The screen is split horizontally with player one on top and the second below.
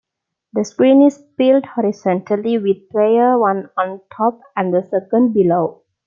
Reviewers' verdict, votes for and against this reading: rejected, 0, 2